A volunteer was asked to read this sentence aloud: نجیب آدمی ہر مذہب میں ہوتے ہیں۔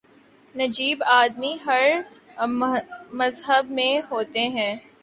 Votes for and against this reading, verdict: 2, 1, accepted